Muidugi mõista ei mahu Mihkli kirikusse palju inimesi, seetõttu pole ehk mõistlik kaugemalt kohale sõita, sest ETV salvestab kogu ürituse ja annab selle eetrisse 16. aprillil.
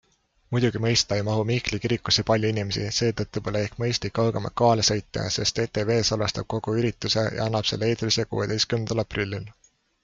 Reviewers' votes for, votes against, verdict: 0, 2, rejected